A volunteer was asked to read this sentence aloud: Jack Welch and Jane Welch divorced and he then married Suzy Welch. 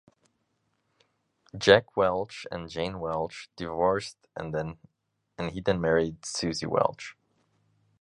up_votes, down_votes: 0, 2